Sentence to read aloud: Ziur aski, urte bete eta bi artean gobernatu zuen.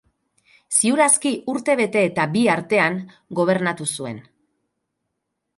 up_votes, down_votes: 4, 0